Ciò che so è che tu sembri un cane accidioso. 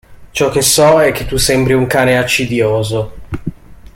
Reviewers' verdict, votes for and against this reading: accepted, 2, 0